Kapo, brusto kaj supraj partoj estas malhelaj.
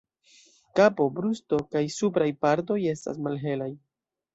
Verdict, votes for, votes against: accepted, 3, 2